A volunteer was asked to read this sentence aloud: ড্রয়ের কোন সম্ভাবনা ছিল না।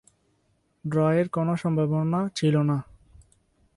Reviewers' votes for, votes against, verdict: 4, 2, accepted